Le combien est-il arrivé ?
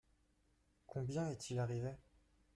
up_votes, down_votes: 0, 2